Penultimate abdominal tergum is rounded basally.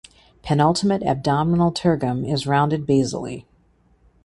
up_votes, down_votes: 2, 0